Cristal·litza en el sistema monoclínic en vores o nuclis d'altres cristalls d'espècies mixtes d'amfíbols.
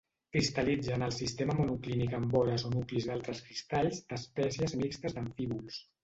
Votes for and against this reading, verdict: 1, 2, rejected